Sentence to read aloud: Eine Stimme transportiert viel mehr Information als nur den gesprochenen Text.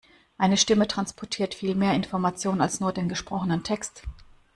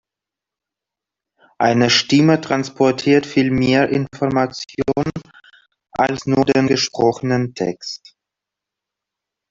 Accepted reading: first